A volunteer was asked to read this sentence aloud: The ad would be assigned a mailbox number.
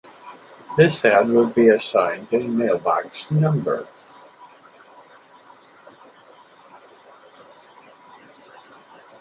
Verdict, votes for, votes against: rejected, 2, 4